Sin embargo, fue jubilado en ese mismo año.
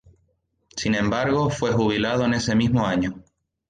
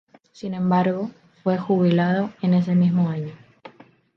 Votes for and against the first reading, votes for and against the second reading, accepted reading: 2, 0, 0, 2, first